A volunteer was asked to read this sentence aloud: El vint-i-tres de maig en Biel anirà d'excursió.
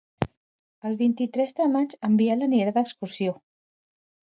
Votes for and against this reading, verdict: 2, 0, accepted